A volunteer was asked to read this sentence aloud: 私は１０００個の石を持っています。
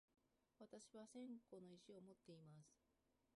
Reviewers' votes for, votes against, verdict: 0, 2, rejected